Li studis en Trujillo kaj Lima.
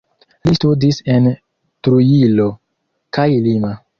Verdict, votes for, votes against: accepted, 2, 1